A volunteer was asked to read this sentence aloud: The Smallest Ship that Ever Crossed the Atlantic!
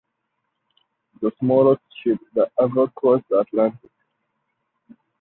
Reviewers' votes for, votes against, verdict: 4, 0, accepted